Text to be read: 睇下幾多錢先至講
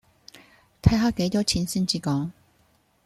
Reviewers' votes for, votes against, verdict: 2, 0, accepted